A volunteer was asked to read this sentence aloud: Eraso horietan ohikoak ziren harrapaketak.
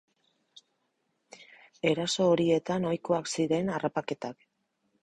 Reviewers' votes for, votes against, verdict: 4, 0, accepted